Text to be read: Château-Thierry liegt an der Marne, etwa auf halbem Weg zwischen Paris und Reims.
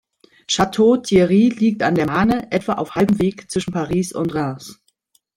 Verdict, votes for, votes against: accepted, 2, 0